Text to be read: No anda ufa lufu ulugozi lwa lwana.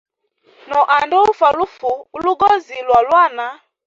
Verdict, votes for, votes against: rejected, 1, 2